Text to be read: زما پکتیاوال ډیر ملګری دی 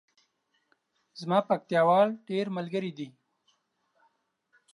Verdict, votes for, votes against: rejected, 1, 2